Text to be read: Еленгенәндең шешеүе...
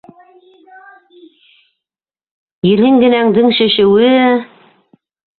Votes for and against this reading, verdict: 0, 2, rejected